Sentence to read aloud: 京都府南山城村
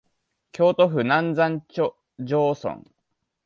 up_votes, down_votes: 2, 1